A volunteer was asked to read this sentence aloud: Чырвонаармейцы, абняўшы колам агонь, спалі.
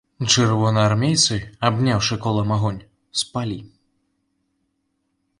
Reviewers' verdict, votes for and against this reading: rejected, 1, 2